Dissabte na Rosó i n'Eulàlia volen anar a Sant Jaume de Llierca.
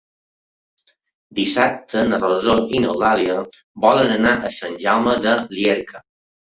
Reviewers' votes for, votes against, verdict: 3, 1, accepted